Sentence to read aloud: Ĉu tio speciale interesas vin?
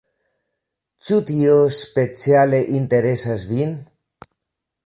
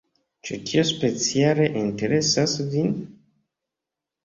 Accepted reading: second